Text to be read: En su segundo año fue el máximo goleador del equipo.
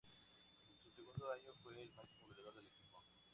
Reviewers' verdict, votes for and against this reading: rejected, 0, 4